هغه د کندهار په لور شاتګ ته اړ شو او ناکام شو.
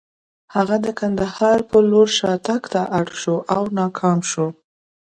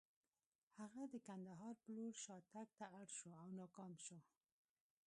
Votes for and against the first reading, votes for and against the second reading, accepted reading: 2, 0, 1, 2, first